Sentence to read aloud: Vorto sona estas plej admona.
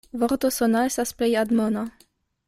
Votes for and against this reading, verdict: 0, 2, rejected